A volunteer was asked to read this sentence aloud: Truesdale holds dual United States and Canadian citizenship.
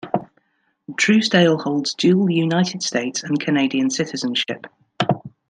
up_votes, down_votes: 2, 0